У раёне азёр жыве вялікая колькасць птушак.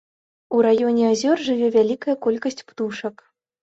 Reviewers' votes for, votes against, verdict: 2, 0, accepted